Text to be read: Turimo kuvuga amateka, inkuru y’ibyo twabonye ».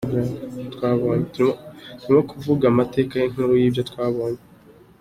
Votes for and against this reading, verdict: 2, 1, accepted